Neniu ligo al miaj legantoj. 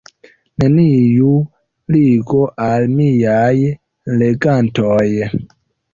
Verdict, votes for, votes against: rejected, 1, 2